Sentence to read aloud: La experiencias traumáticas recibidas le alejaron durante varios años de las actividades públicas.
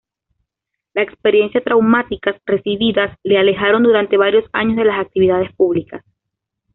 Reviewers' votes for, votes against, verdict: 1, 2, rejected